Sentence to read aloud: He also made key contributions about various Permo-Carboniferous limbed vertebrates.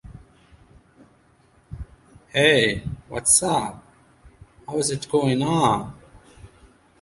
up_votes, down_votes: 0, 2